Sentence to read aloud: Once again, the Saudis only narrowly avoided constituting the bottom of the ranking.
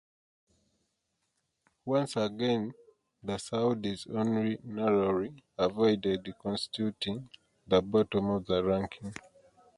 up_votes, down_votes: 2, 0